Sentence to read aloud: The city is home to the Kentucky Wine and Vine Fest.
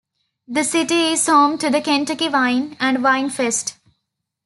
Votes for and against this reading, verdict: 2, 0, accepted